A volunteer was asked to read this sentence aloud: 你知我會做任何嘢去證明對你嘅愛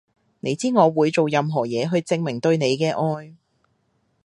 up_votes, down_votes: 2, 0